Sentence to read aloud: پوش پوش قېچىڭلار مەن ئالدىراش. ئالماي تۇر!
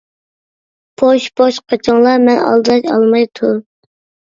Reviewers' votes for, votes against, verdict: 1, 2, rejected